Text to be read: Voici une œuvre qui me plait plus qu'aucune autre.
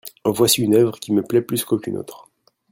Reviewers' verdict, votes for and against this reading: rejected, 1, 2